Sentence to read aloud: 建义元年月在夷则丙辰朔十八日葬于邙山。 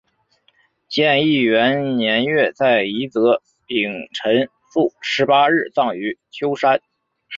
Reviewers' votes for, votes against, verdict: 3, 0, accepted